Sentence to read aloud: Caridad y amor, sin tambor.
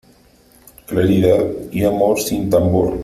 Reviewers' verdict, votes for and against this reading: rejected, 1, 2